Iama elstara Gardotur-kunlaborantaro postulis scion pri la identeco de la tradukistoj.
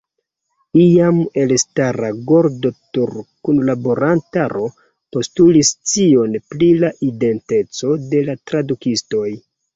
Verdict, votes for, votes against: rejected, 0, 2